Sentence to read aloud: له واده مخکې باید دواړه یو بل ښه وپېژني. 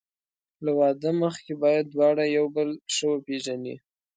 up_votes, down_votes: 2, 0